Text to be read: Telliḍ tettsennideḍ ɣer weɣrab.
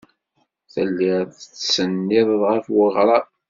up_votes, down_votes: 1, 2